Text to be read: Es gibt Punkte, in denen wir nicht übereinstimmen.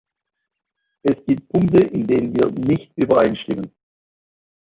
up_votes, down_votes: 0, 2